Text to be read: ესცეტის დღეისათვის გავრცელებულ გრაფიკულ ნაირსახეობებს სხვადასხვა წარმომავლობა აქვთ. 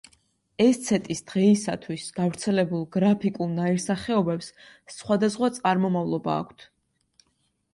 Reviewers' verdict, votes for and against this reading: accepted, 2, 0